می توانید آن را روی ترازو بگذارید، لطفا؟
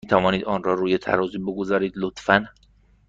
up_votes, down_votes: 2, 0